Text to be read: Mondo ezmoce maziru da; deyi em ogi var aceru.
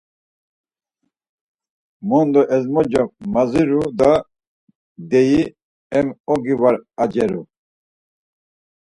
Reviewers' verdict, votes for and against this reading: accepted, 4, 0